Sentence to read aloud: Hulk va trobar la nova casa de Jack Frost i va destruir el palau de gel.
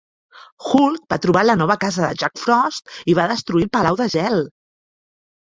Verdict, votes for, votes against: accepted, 2, 0